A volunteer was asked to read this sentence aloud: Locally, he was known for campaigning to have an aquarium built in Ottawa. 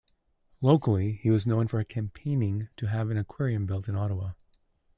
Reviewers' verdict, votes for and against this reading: accepted, 2, 0